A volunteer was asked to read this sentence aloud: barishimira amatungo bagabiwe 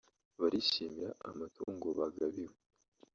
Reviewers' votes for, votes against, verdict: 1, 2, rejected